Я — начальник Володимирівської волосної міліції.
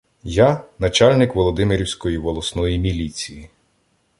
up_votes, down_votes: 2, 0